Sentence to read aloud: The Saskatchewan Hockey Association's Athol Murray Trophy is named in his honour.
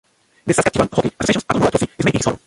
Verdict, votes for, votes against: rejected, 0, 2